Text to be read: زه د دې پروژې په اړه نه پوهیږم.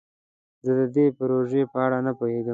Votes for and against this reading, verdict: 2, 0, accepted